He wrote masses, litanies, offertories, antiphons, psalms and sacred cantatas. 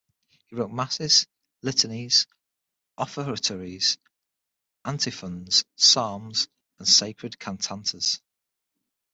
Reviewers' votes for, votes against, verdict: 6, 3, accepted